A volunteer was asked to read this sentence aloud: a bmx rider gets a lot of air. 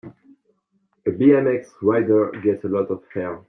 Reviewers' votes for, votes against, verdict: 2, 1, accepted